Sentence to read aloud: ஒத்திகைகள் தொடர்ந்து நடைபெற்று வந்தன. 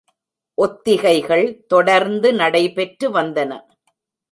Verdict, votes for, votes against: accepted, 2, 0